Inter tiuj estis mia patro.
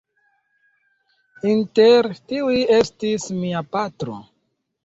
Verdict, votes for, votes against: accepted, 2, 0